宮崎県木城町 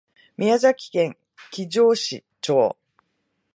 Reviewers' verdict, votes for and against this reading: rejected, 1, 4